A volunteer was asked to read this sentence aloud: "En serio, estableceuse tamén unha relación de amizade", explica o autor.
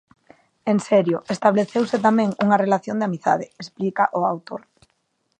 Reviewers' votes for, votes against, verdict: 2, 0, accepted